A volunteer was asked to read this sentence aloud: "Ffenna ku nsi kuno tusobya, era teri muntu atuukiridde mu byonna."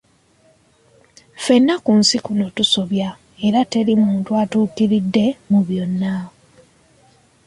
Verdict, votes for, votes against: accepted, 2, 0